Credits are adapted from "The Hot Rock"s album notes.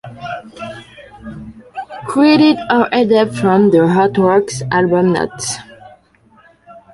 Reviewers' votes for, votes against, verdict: 0, 2, rejected